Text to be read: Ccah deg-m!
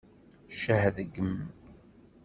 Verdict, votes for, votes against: accepted, 2, 0